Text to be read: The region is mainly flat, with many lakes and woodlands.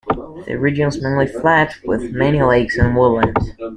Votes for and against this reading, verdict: 1, 2, rejected